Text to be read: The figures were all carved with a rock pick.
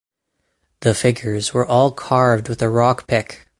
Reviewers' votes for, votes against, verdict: 4, 0, accepted